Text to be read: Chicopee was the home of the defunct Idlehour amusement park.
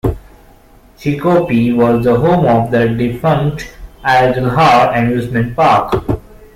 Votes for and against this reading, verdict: 2, 0, accepted